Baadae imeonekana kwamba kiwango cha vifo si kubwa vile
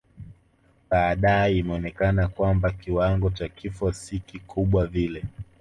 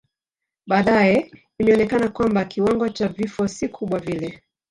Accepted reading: first